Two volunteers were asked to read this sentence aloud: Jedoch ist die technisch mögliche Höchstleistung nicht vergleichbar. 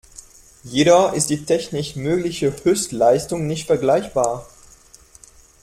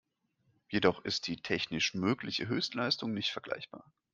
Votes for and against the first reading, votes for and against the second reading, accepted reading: 1, 2, 2, 0, second